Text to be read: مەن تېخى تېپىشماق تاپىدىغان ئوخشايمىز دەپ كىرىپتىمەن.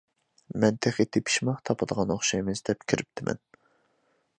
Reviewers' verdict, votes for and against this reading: accepted, 3, 0